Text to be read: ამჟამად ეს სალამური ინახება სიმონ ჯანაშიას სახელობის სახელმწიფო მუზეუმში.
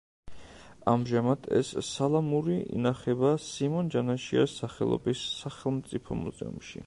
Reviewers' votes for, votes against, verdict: 2, 0, accepted